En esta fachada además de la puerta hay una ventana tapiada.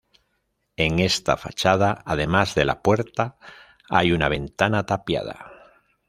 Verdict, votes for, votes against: accepted, 2, 0